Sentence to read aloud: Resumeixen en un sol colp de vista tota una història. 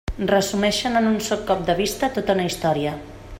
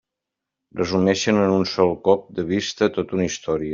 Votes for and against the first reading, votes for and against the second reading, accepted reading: 0, 2, 2, 0, second